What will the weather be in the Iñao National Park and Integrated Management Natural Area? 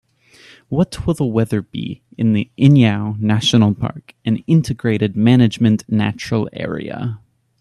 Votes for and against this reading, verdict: 3, 0, accepted